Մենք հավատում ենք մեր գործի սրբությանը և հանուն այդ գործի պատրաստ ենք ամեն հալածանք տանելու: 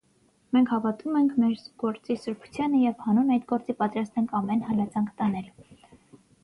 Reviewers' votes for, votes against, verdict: 3, 6, rejected